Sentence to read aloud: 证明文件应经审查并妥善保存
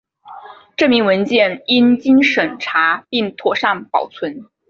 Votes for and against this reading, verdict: 3, 0, accepted